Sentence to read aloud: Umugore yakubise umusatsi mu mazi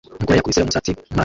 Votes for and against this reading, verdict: 0, 2, rejected